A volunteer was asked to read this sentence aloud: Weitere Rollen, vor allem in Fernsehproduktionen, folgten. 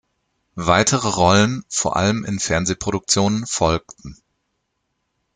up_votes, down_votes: 2, 0